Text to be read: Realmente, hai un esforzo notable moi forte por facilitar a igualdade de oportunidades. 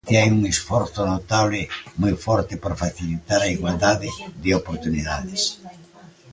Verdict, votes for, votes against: rejected, 1, 2